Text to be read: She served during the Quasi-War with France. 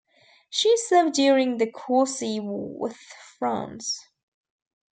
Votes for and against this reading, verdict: 1, 2, rejected